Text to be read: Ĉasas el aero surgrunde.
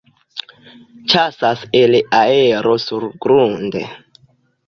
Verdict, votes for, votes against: accepted, 2, 0